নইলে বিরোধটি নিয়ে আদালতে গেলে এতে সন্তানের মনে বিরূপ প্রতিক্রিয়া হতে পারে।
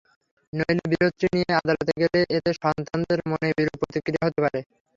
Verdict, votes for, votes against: rejected, 0, 3